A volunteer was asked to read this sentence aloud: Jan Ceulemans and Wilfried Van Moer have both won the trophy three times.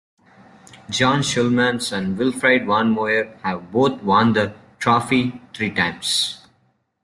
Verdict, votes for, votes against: rejected, 0, 2